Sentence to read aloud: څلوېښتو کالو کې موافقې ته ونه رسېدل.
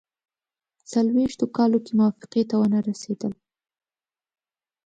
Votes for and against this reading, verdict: 2, 0, accepted